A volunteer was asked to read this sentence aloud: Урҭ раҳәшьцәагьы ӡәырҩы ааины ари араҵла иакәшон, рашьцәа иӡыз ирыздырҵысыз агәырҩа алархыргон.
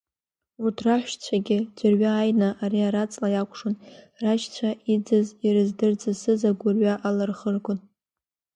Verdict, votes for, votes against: rejected, 0, 2